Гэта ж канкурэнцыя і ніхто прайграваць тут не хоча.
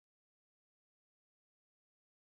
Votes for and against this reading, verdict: 1, 2, rejected